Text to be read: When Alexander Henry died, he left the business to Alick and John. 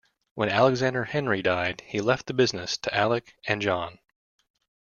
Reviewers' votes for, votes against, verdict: 2, 0, accepted